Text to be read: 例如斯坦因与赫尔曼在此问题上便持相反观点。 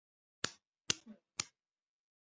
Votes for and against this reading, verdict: 0, 2, rejected